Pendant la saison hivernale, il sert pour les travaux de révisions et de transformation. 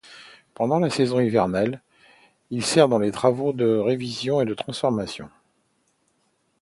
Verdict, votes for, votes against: rejected, 0, 2